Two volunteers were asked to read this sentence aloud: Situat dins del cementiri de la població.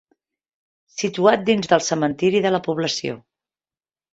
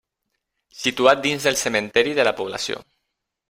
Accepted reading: first